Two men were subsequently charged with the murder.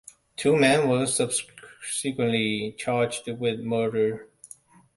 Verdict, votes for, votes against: rejected, 1, 2